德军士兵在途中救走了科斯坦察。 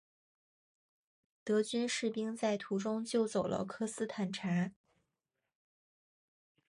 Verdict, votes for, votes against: rejected, 1, 2